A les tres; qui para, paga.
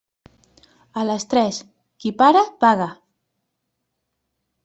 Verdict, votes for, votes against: accepted, 3, 0